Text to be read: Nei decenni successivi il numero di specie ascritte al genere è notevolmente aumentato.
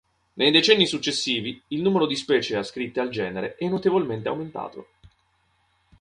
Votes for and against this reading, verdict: 2, 0, accepted